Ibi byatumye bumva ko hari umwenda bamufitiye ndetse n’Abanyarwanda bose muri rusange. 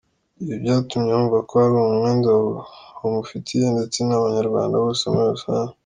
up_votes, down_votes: 2, 1